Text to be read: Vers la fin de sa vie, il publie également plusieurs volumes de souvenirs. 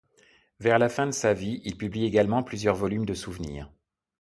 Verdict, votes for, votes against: accepted, 2, 0